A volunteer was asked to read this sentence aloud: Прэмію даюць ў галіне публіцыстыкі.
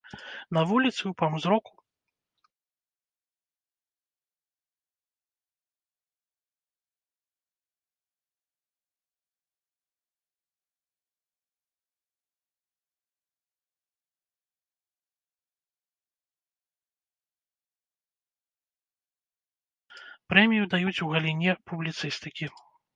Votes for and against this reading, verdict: 0, 2, rejected